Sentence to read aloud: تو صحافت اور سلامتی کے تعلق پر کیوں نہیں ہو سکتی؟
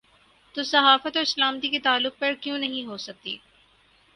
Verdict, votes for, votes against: accepted, 6, 0